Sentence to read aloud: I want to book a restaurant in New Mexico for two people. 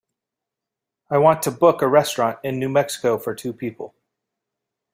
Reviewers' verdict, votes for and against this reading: accepted, 3, 0